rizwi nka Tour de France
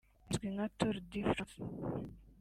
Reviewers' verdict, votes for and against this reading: rejected, 0, 2